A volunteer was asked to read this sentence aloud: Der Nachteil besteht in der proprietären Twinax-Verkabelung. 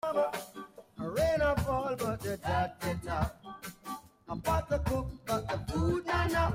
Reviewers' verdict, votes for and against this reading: rejected, 0, 2